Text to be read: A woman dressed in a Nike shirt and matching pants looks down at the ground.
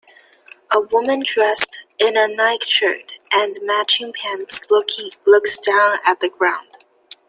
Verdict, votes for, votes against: rejected, 1, 2